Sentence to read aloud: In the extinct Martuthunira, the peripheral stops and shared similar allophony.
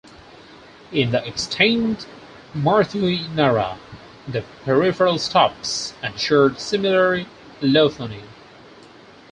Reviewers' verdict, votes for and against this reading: rejected, 0, 4